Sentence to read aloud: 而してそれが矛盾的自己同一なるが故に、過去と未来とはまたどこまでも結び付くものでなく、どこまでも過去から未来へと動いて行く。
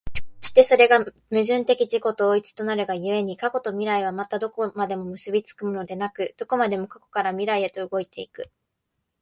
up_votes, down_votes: 1, 2